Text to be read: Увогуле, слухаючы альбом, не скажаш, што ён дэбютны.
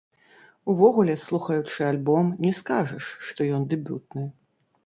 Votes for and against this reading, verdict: 1, 2, rejected